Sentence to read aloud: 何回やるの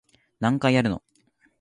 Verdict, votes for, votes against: accepted, 2, 0